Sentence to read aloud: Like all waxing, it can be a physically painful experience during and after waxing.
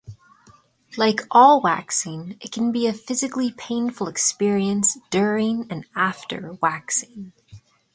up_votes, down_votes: 3, 0